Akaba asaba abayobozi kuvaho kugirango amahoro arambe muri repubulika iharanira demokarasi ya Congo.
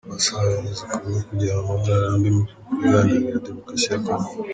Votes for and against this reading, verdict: 1, 2, rejected